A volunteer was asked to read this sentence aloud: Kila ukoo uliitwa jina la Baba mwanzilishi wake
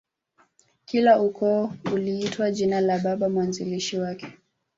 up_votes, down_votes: 0, 2